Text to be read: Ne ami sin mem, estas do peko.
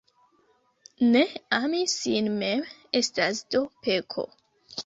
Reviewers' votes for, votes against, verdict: 2, 0, accepted